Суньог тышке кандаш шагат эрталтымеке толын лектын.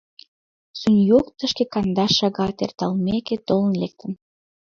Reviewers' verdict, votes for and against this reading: accepted, 2, 0